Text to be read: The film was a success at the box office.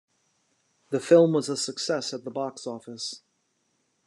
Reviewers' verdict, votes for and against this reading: accepted, 2, 0